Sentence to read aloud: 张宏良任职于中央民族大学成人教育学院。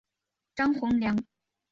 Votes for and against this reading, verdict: 1, 2, rejected